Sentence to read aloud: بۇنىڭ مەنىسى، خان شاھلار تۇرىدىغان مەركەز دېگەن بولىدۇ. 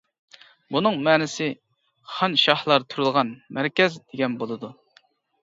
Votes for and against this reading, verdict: 2, 0, accepted